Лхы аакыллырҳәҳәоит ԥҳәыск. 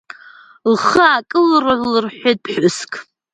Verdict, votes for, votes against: rejected, 0, 2